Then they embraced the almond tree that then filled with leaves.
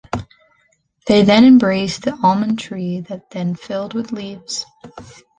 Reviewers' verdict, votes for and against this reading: accepted, 2, 0